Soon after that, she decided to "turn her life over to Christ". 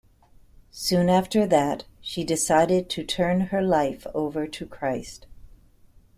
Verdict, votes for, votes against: accepted, 2, 0